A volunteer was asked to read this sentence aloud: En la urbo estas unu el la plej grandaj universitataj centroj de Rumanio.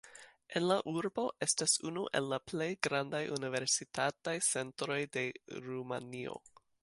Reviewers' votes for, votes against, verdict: 2, 1, accepted